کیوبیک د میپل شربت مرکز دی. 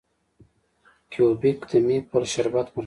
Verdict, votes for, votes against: rejected, 1, 2